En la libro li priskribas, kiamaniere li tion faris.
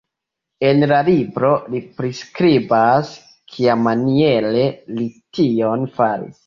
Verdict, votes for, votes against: accepted, 2, 1